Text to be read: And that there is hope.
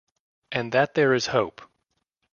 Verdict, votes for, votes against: accepted, 2, 0